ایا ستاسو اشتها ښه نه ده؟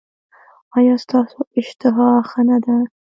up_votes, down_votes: 2, 0